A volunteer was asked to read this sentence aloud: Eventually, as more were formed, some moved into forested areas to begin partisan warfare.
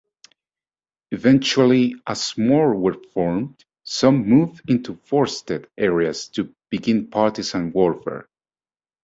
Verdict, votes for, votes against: accepted, 2, 1